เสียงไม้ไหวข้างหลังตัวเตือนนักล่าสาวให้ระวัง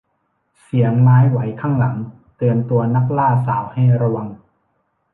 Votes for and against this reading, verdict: 1, 2, rejected